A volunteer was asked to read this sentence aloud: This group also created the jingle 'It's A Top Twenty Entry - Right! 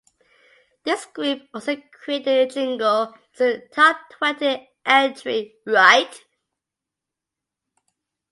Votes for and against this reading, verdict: 2, 1, accepted